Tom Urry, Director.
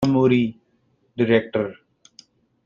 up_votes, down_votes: 1, 2